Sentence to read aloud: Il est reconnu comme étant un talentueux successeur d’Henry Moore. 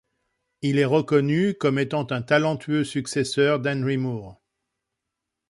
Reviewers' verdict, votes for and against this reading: accepted, 2, 0